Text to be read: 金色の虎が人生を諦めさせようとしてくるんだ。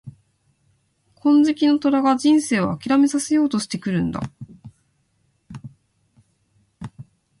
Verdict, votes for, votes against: accepted, 2, 0